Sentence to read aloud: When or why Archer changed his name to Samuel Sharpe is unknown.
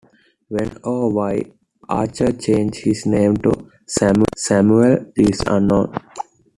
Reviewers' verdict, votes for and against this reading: rejected, 0, 2